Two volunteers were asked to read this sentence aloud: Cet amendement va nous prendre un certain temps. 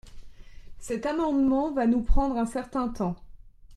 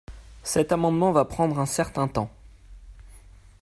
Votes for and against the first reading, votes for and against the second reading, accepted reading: 2, 0, 1, 3, first